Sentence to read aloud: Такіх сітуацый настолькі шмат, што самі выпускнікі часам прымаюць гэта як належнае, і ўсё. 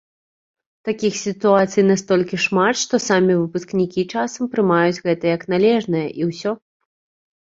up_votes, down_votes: 2, 0